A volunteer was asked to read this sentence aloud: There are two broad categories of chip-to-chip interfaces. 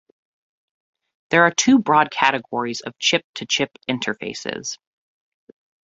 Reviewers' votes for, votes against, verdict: 2, 0, accepted